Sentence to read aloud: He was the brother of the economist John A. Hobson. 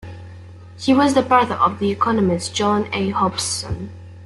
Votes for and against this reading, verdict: 2, 0, accepted